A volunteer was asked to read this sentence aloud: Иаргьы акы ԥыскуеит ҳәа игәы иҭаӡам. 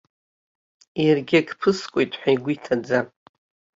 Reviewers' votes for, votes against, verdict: 2, 0, accepted